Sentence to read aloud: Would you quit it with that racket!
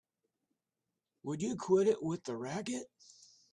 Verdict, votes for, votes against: accepted, 2, 1